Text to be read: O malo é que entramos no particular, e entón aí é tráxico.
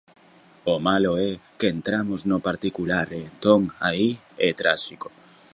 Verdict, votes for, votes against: rejected, 0, 2